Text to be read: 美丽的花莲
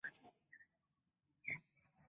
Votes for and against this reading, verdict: 0, 2, rejected